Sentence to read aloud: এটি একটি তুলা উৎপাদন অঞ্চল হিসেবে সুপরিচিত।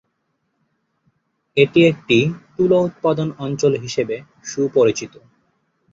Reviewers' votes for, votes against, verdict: 4, 1, accepted